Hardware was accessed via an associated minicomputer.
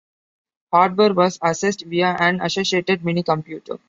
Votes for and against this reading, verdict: 2, 0, accepted